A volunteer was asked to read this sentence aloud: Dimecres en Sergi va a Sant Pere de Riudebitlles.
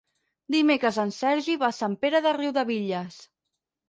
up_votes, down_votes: 6, 0